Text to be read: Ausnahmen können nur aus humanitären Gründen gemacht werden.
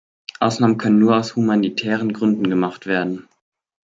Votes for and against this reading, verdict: 2, 0, accepted